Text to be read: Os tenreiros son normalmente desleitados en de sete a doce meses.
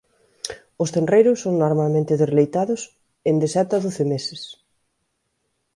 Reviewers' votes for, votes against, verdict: 15, 1, accepted